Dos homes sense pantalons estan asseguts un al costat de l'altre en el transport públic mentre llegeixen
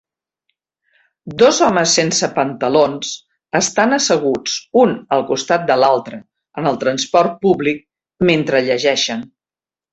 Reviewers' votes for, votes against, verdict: 3, 0, accepted